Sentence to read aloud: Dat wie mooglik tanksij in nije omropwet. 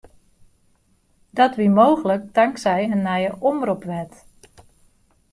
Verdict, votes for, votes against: accepted, 2, 0